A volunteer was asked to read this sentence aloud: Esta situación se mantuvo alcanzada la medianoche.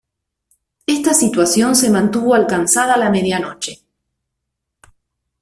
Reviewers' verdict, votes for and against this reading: accepted, 2, 0